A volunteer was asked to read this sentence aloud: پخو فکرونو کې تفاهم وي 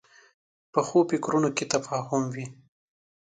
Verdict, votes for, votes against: accepted, 2, 0